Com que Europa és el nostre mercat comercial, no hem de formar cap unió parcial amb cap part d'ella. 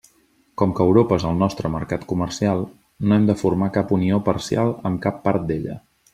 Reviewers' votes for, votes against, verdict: 3, 0, accepted